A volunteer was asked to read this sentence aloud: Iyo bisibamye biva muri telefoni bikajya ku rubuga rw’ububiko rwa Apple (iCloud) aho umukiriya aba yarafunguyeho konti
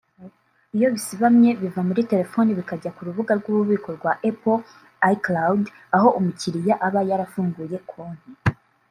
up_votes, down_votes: 1, 2